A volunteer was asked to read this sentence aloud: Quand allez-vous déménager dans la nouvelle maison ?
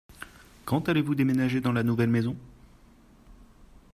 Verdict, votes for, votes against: accepted, 2, 0